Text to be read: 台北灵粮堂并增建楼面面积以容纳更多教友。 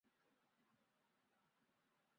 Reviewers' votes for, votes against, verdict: 1, 3, rejected